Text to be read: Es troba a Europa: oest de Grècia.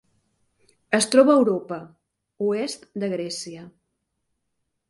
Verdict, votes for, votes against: accepted, 3, 0